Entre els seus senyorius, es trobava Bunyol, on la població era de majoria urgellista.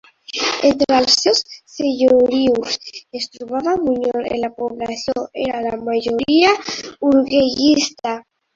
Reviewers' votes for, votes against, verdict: 0, 3, rejected